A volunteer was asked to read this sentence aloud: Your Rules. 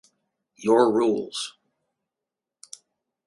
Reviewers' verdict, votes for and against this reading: accepted, 2, 0